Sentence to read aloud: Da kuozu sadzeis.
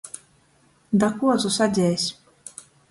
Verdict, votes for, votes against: accepted, 2, 0